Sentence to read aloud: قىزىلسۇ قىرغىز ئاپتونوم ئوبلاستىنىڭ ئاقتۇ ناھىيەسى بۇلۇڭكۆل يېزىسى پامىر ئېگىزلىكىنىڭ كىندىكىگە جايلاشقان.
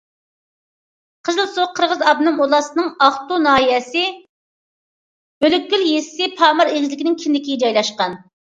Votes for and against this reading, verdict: 1, 2, rejected